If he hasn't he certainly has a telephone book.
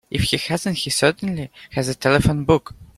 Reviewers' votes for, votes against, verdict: 2, 0, accepted